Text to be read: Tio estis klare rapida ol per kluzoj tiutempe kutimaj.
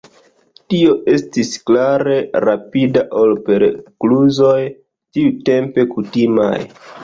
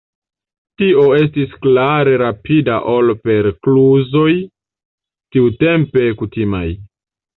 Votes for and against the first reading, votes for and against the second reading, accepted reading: 0, 2, 3, 0, second